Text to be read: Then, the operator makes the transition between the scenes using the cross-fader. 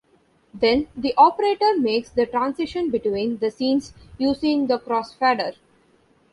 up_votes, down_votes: 1, 2